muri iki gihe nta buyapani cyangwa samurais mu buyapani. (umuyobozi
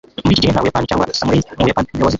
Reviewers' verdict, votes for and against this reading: rejected, 0, 2